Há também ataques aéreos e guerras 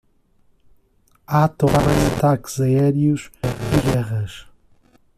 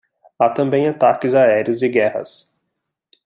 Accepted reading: second